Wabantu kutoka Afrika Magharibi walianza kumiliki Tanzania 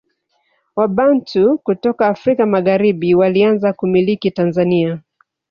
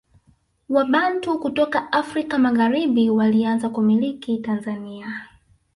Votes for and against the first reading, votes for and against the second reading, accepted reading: 2, 1, 1, 2, first